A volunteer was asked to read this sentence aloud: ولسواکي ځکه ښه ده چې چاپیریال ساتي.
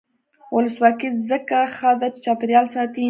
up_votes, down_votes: 2, 0